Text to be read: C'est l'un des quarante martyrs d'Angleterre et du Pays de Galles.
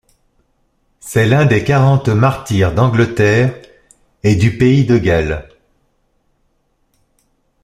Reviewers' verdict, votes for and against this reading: rejected, 1, 2